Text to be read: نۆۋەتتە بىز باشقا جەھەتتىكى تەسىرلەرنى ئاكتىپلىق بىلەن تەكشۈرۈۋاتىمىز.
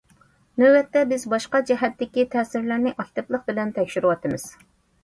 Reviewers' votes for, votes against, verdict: 2, 0, accepted